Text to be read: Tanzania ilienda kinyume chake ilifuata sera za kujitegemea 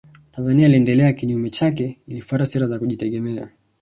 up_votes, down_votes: 1, 2